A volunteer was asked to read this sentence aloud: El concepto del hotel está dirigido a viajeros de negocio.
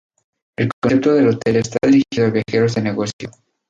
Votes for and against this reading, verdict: 2, 2, rejected